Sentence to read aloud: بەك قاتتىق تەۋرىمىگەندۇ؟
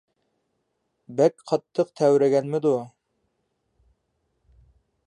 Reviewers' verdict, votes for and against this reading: rejected, 0, 2